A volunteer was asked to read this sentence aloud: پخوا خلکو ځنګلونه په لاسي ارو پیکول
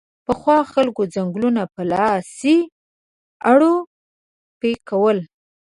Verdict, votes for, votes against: rejected, 0, 2